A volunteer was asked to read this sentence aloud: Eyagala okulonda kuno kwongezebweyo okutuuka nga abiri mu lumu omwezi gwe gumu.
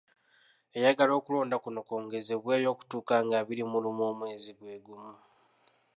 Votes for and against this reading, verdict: 2, 1, accepted